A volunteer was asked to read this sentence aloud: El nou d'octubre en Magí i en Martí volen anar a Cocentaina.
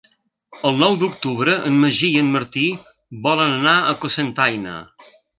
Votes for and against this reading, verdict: 2, 0, accepted